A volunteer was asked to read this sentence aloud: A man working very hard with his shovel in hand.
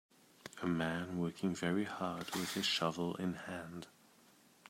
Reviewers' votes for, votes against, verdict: 2, 0, accepted